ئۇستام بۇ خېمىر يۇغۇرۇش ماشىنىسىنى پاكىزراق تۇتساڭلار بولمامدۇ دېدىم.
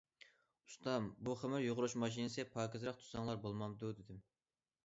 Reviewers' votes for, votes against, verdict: 1, 2, rejected